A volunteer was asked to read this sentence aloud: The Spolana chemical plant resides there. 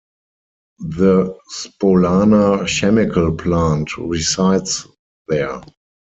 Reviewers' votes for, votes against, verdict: 2, 4, rejected